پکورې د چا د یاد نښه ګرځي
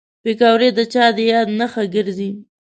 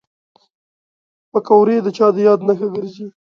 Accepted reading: second